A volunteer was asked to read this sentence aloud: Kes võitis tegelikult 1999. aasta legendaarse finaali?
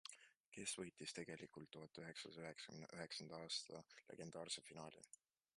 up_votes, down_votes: 0, 2